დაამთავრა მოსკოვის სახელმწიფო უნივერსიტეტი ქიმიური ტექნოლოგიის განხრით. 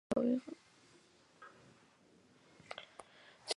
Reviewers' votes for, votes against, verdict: 0, 2, rejected